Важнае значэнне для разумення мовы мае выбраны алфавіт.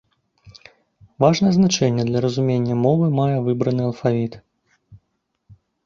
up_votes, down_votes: 2, 0